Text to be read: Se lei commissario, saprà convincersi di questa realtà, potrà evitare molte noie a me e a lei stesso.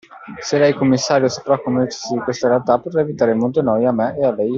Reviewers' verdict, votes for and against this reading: rejected, 1, 2